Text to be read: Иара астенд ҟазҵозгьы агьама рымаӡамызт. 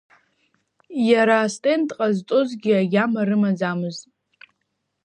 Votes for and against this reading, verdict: 2, 0, accepted